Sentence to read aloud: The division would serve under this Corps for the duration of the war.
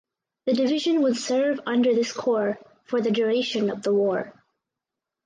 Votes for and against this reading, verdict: 4, 0, accepted